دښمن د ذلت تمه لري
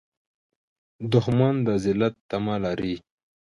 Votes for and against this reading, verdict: 2, 1, accepted